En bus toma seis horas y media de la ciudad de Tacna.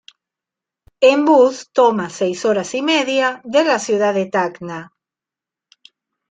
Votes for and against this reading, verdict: 2, 0, accepted